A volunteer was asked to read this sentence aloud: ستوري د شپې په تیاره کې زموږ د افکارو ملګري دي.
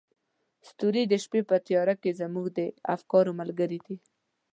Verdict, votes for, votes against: accepted, 2, 0